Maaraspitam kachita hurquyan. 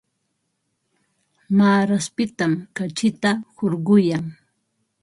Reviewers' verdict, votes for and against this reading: accepted, 4, 0